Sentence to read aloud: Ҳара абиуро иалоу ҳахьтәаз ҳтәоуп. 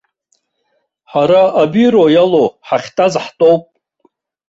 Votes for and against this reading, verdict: 1, 2, rejected